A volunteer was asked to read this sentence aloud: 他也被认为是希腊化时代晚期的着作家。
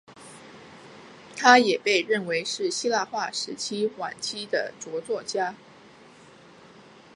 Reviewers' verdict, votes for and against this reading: accepted, 2, 0